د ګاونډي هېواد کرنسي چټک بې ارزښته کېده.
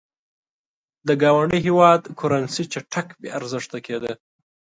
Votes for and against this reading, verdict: 2, 0, accepted